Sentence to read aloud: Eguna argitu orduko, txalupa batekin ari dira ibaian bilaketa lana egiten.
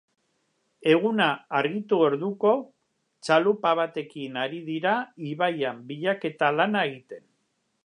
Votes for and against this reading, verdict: 2, 0, accepted